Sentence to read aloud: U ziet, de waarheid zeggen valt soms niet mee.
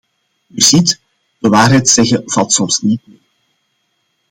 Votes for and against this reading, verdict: 2, 0, accepted